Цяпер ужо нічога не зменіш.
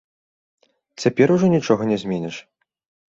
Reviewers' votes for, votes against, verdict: 2, 0, accepted